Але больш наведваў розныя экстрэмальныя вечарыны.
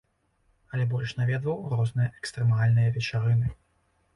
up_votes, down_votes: 2, 0